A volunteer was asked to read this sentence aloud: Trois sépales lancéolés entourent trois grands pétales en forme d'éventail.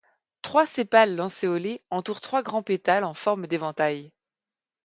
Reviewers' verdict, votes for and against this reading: accepted, 2, 0